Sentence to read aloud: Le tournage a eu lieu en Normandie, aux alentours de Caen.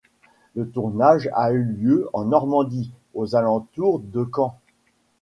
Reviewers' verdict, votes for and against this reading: accepted, 2, 0